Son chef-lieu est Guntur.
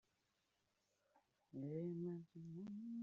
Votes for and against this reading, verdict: 0, 2, rejected